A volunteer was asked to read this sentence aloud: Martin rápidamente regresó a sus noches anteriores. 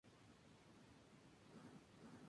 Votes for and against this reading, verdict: 0, 2, rejected